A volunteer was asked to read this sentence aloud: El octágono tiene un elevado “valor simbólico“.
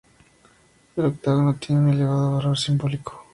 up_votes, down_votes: 4, 0